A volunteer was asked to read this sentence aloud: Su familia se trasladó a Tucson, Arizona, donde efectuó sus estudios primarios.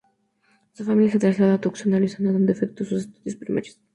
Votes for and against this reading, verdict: 0, 2, rejected